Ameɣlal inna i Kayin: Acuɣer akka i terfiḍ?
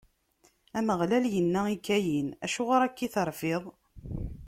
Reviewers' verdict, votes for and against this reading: accepted, 2, 0